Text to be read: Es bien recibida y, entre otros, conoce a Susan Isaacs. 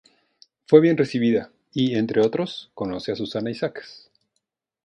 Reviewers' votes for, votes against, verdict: 0, 2, rejected